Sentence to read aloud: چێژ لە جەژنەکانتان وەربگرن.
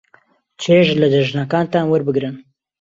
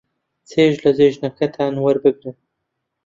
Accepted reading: first